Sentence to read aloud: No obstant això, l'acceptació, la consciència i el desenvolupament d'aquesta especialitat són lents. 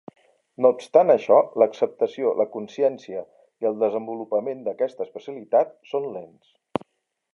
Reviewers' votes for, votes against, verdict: 3, 0, accepted